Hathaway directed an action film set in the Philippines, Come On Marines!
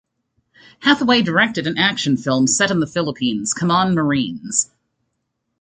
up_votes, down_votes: 2, 1